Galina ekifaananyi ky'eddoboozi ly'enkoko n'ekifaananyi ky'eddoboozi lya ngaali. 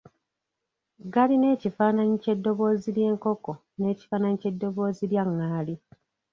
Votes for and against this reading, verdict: 1, 2, rejected